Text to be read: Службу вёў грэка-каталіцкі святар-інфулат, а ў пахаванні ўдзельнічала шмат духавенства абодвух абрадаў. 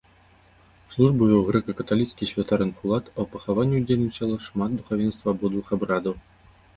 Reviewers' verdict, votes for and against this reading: accepted, 2, 0